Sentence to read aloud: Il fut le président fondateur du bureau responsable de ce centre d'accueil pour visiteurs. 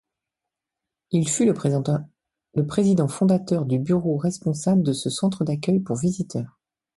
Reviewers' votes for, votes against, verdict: 1, 2, rejected